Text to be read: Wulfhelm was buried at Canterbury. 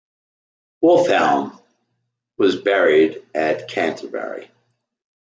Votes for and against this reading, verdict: 2, 0, accepted